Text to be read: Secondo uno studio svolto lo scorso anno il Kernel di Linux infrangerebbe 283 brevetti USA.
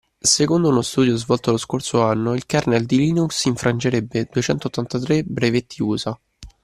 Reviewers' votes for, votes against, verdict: 0, 2, rejected